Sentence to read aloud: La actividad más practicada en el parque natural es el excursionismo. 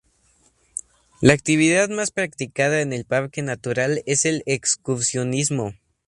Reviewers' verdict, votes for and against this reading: accepted, 4, 0